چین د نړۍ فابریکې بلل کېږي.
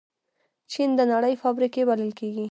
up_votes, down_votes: 1, 2